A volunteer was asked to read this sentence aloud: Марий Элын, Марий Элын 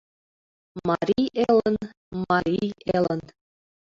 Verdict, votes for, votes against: accepted, 2, 0